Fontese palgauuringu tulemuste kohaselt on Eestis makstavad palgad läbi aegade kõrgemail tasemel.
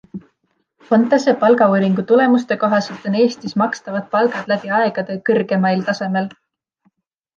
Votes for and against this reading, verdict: 2, 0, accepted